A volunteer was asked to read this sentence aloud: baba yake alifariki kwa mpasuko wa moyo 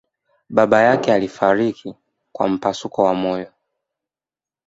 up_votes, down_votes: 0, 2